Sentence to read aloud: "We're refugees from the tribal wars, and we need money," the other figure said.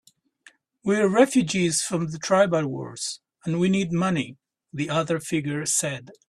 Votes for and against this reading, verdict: 2, 0, accepted